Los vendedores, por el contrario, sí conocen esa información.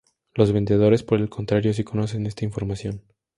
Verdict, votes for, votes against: rejected, 0, 2